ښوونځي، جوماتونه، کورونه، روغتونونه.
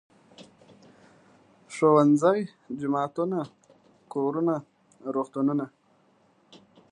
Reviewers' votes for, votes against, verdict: 0, 2, rejected